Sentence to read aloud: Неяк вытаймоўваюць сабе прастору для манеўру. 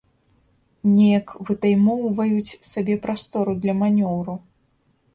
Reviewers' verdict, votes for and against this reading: rejected, 1, 2